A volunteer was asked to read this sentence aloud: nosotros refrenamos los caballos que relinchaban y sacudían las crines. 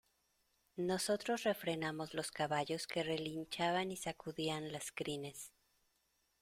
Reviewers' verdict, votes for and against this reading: accepted, 2, 0